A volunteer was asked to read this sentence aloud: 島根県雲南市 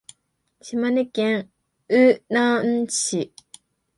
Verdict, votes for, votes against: rejected, 1, 2